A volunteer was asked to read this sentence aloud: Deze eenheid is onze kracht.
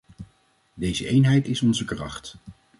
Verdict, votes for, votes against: accepted, 2, 0